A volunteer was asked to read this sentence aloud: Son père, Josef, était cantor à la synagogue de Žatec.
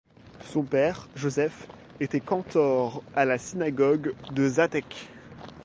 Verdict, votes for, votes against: accepted, 2, 0